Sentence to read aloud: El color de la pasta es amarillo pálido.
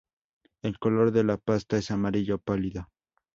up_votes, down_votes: 2, 0